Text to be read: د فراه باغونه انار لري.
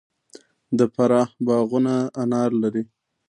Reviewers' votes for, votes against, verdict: 1, 2, rejected